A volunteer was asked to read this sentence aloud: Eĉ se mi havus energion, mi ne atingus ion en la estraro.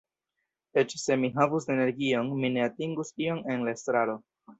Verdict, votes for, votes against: accepted, 2, 1